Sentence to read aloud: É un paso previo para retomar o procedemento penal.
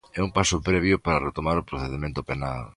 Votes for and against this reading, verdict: 2, 0, accepted